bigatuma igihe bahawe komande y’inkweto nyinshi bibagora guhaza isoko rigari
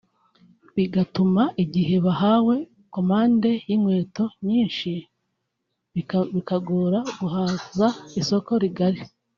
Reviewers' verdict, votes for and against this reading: rejected, 0, 2